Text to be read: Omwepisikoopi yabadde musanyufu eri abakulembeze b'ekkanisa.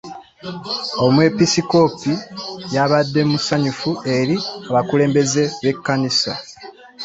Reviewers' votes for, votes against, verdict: 3, 1, accepted